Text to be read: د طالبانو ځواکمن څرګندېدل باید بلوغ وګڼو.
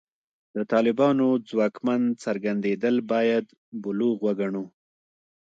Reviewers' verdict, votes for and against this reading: accepted, 2, 1